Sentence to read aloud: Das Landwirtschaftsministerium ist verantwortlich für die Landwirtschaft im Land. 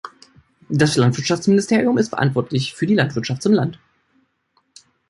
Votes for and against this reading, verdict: 1, 2, rejected